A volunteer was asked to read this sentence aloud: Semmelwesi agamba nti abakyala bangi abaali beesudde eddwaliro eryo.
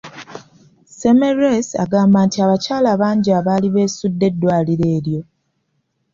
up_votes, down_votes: 2, 0